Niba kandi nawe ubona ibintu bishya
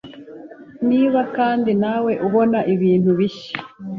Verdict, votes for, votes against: accepted, 2, 0